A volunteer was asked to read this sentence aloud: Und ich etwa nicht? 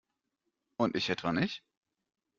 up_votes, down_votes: 2, 0